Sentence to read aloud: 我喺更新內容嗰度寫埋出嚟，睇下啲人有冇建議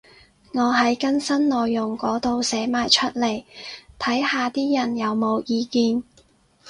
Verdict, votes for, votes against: rejected, 2, 2